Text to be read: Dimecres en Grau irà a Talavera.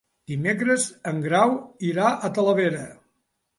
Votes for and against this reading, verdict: 3, 0, accepted